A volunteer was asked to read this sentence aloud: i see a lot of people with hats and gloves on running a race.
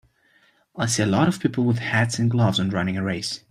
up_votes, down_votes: 1, 2